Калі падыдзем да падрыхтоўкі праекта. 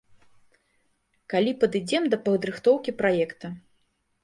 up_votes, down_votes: 1, 2